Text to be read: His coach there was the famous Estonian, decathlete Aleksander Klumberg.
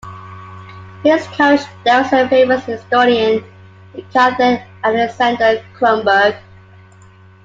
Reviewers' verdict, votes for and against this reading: rejected, 0, 2